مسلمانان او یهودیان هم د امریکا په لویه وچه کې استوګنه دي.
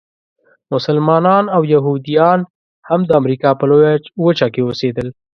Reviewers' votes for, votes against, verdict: 0, 2, rejected